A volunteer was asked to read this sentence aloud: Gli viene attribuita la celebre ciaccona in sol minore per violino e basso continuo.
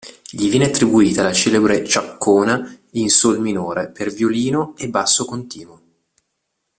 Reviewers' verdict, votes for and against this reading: accepted, 2, 0